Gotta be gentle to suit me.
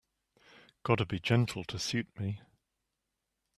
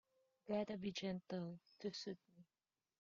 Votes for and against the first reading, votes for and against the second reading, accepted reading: 2, 0, 1, 2, first